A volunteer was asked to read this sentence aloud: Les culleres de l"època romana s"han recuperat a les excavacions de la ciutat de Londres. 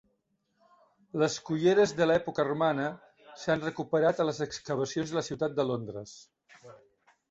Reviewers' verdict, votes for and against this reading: accepted, 2, 0